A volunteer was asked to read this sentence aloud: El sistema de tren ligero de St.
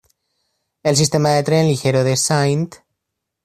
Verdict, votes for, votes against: accepted, 2, 0